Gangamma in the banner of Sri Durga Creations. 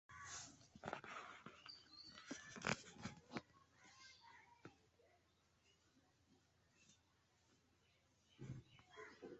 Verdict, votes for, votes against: rejected, 0, 2